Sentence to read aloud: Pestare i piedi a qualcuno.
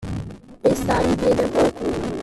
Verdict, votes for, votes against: rejected, 0, 2